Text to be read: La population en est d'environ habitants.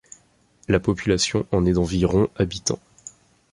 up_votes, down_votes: 2, 0